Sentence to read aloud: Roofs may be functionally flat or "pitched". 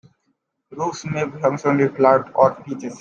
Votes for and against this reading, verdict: 0, 2, rejected